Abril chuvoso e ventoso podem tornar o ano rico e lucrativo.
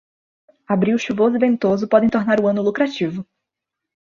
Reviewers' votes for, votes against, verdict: 0, 2, rejected